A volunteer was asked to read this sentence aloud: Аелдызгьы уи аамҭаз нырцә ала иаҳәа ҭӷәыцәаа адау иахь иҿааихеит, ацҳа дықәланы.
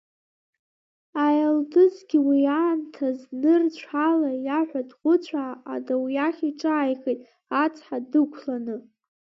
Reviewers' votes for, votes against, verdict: 2, 1, accepted